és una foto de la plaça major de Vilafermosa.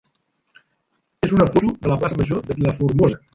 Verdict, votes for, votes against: rejected, 0, 2